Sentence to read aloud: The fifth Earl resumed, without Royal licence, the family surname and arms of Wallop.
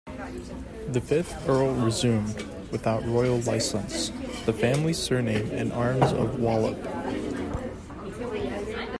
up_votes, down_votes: 0, 2